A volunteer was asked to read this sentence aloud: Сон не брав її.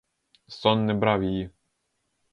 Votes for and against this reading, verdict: 2, 0, accepted